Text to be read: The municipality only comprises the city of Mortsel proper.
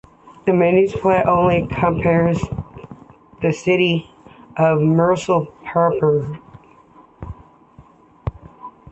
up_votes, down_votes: 0, 2